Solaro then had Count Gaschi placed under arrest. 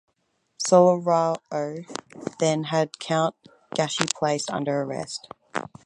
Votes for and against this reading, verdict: 2, 2, rejected